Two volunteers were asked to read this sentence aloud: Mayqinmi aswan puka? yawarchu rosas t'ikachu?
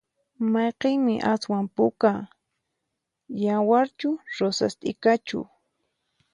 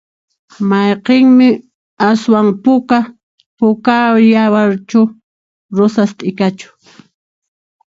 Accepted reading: first